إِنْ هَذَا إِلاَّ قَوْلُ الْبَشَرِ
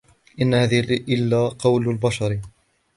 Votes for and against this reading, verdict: 1, 2, rejected